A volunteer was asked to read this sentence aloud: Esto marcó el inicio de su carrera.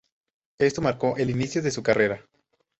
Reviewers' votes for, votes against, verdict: 6, 2, accepted